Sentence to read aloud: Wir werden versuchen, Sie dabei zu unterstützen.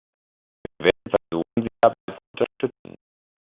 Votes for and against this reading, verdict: 0, 2, rejected